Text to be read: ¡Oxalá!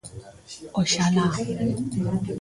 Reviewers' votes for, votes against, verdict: 1, 2, rejected